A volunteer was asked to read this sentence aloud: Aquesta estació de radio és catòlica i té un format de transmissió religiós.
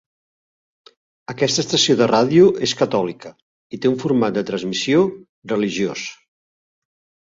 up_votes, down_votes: 4, 0